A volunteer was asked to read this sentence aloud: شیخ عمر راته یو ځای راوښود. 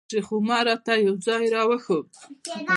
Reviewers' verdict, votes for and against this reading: rejected, 1, 2